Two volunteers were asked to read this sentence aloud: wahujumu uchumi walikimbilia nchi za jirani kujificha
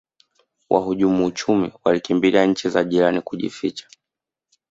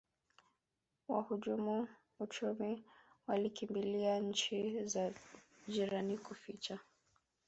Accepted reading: first